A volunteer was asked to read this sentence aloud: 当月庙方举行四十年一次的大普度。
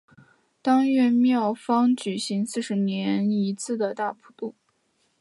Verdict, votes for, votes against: accepted, 2, 0